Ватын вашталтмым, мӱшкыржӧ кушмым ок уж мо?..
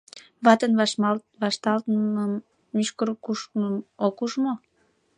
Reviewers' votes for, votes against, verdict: 0, 2, rejected